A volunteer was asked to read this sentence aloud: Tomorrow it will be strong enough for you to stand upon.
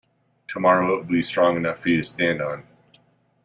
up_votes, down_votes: 1, 2